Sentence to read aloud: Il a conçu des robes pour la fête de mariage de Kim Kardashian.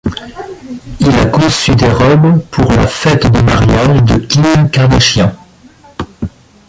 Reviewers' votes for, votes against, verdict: 0, 2, rejected